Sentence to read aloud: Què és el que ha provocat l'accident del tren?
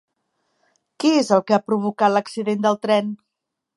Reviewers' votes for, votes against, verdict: 2, 0, accepted